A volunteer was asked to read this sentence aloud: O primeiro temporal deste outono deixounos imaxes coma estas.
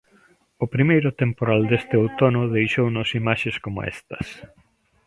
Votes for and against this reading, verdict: 2, 1, accepted